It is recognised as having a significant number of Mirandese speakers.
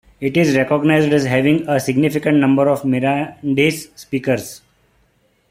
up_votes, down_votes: 0, 2